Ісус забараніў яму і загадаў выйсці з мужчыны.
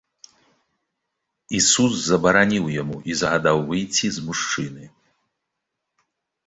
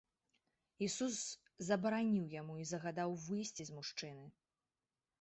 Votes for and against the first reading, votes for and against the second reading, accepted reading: 1, 2, 2, 0, second